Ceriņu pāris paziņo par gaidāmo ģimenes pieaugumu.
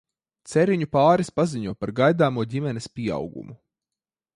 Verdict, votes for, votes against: accepted, 2, 0